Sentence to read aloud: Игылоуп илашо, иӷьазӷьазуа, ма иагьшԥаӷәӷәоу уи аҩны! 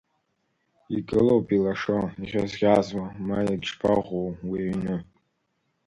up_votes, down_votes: 2, 0